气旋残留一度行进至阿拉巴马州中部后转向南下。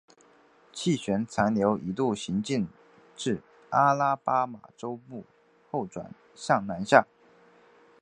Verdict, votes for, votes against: accepted, 3, 0